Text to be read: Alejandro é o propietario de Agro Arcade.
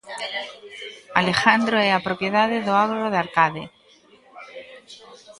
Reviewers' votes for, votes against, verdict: 0, 2, rejected